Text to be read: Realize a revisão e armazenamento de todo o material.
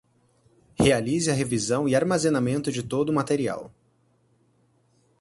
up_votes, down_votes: 4, 0